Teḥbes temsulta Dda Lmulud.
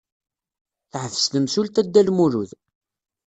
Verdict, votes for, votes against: accepted, 2, 0